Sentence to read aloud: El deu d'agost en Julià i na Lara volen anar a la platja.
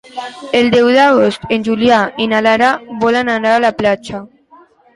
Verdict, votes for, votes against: accepted, 2, 0